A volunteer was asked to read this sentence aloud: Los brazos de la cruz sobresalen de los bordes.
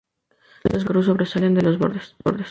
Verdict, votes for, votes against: rejected, 0, 2